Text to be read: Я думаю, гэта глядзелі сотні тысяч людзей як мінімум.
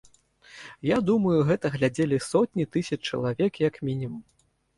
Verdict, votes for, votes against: rejected, 0, 2